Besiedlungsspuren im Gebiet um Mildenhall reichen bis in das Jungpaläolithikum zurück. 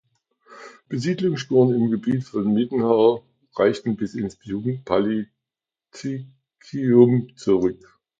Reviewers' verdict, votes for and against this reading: rejected, 0, 2